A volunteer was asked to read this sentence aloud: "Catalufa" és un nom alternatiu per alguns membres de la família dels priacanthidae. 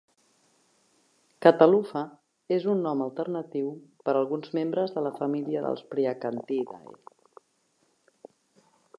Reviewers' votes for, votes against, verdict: 1, 2, rejected